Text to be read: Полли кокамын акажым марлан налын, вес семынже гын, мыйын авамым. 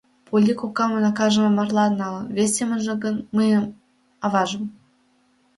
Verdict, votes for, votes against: rejected, 0, 2